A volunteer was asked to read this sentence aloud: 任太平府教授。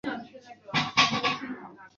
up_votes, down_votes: 2, 6